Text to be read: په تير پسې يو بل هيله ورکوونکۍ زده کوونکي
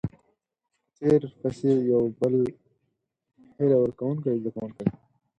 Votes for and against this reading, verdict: 0, 4, rejected